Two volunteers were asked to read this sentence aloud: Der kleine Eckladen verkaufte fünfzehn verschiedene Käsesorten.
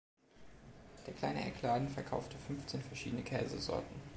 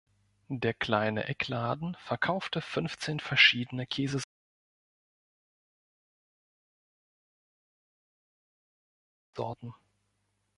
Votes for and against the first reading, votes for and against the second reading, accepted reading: 2, 0, 1, 3, first